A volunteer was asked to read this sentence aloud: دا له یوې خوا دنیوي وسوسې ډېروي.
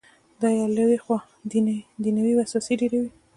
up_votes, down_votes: 1, 2